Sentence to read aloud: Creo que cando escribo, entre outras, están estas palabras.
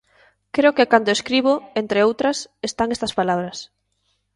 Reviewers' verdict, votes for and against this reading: accepted, 2, 0